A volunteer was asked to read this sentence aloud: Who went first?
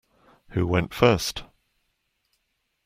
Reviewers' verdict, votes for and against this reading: accepted, 2, 0